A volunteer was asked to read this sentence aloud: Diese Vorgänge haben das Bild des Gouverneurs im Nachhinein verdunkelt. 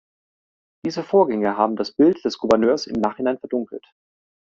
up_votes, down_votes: 3, 0